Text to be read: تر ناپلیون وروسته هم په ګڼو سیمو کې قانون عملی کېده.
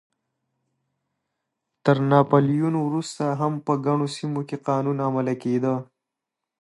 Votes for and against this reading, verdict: 2, 0, accepted